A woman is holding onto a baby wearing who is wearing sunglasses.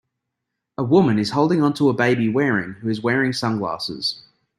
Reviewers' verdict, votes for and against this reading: accepted, 2, 0